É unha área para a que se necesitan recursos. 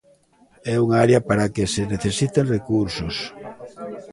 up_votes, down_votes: 0, 2